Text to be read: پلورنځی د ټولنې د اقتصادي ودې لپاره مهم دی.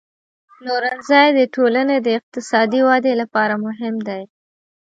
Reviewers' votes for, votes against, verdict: 2, 0, accepted